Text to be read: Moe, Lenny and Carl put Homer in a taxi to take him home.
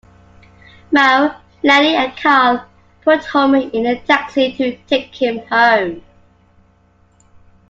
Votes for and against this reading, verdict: 2, 1, accepted